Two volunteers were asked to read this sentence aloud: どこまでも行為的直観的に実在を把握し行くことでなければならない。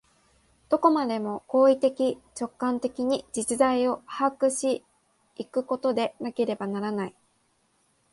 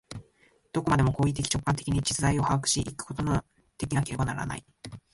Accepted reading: first